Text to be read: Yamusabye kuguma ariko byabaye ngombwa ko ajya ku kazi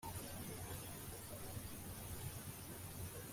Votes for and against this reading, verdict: 2, 0, accepted